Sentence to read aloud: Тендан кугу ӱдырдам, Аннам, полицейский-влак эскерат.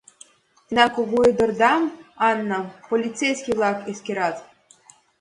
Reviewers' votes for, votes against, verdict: 3, 1, accepted